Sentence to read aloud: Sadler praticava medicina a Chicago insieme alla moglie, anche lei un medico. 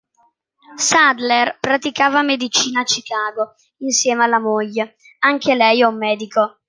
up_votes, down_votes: 2, 0